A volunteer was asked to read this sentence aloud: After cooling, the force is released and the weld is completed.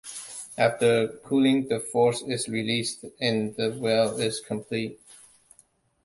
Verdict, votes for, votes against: rejected, 0, 2